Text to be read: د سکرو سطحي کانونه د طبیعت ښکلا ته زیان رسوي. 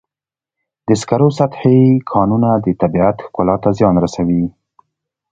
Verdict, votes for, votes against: accepted, 2, 0